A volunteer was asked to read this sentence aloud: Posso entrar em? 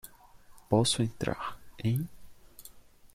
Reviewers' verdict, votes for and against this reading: accepted, 2, 0